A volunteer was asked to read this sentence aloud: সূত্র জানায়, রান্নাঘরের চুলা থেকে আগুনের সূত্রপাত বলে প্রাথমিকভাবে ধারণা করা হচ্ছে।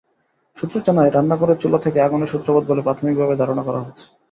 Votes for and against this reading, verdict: 0, 2, rejected